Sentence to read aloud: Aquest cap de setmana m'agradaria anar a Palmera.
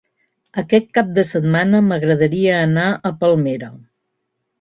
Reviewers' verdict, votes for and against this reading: accepted, 2, 0